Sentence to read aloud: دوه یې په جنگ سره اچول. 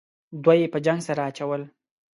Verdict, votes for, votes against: accepted, 2, 0